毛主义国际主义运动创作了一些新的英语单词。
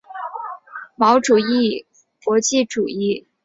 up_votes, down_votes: 3, 5